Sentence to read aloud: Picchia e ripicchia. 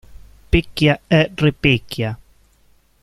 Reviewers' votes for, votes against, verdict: 0, 2, rejected